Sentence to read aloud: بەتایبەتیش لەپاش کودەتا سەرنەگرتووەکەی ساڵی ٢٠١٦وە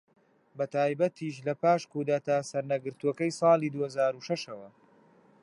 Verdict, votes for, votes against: rejected, 0, 2